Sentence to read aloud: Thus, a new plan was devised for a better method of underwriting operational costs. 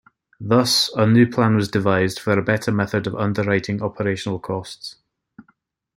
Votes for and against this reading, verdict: 2, 0, accepted